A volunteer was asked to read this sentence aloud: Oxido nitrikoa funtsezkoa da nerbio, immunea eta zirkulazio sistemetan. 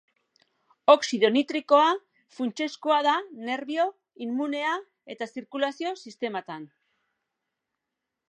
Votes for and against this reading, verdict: 1, 2, rejected